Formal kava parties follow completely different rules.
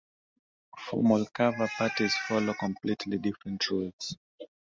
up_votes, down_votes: 2, 0